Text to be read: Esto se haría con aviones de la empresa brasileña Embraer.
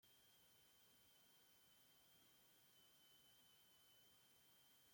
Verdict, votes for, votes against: rejected, 0, 2